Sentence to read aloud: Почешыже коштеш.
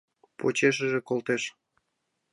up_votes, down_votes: 1, 2